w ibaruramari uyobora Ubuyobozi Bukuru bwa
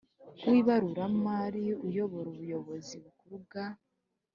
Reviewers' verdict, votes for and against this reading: accepted, 2, 0